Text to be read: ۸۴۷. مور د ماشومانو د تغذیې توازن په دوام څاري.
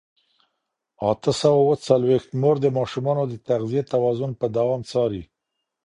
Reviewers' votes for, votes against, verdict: 0, 2, rejected